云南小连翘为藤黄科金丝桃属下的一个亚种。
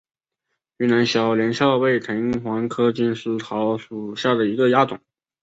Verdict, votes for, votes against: rejected, 0, 3